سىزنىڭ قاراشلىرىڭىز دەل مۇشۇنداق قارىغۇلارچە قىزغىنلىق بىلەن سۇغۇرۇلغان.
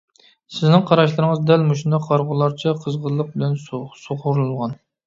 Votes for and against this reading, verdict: 0, 2, rejected